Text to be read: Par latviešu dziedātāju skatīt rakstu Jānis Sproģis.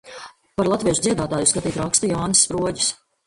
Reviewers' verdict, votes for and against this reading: accepted, 2, 0